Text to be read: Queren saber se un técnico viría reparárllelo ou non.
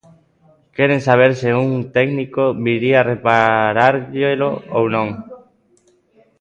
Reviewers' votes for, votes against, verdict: 1, 2, rejected